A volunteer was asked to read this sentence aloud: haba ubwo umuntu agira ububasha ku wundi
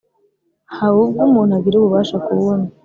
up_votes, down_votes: 3, 0